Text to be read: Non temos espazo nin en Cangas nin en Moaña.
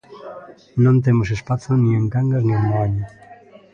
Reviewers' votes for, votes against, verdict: 1, 2, rejected